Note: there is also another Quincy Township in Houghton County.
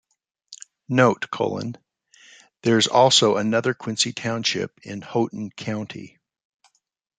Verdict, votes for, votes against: rejected, 0, 2